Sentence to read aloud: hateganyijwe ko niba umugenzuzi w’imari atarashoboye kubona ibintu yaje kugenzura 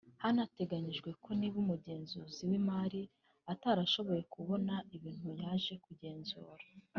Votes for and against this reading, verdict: 2, 1, accepted